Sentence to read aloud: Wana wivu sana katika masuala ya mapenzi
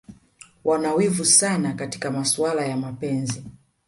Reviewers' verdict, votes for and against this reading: rejected, 1, 2